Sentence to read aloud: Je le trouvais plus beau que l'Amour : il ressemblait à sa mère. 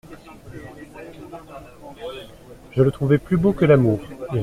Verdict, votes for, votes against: rejected, 0, 2